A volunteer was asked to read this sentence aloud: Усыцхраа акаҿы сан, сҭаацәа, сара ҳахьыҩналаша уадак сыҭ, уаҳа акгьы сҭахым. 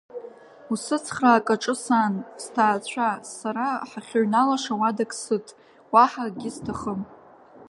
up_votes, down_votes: 3, 0